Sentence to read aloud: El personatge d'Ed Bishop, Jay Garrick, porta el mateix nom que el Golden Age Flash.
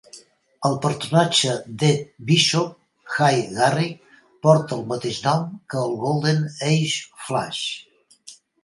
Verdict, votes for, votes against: rejected, 0, 2